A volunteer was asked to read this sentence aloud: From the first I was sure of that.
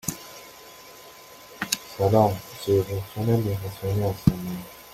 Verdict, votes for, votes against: rejected, 0, 2